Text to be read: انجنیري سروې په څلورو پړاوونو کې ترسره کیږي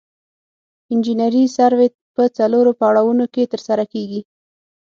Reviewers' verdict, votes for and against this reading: accepted, 6, 0